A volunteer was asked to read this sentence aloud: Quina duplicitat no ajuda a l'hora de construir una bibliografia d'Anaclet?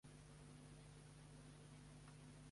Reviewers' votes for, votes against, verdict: 1, 2, rejected